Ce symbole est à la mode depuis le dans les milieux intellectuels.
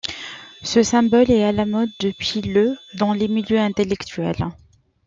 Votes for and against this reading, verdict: 2, 0, accepted